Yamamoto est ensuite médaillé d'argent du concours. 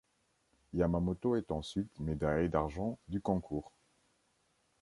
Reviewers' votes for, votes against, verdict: 2, 0, accepted